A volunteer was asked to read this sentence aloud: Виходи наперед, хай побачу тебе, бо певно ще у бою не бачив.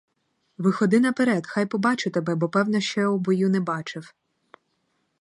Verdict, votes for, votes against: rejected, 2, 2